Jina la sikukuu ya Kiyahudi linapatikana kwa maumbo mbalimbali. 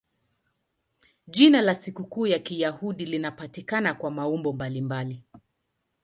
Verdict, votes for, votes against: accepted, 2, 0